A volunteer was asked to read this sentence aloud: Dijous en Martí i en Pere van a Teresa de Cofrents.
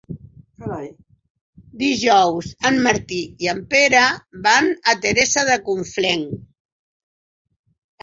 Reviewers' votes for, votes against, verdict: 2, 4, rejected